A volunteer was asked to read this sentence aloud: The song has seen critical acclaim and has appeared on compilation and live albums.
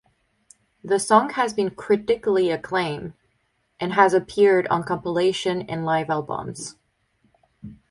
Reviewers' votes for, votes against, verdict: 4, 0, accepted